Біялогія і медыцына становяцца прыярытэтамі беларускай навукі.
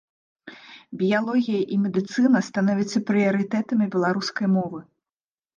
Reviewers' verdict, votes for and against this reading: rejected, 1, 2